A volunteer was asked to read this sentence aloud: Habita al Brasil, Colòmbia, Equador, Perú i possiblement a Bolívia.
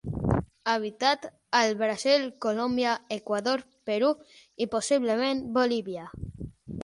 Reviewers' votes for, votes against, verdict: 0, 6, rejected